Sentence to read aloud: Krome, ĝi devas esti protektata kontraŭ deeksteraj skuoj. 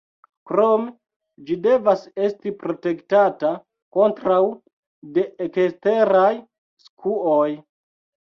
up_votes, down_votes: 0, 2